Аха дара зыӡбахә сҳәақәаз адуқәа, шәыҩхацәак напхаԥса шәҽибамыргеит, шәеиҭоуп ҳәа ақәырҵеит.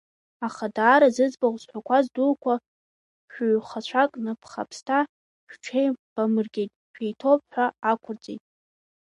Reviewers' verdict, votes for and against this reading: rejected, 1, 2